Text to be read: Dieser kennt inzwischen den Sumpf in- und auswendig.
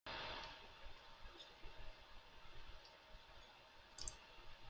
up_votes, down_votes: 0, 2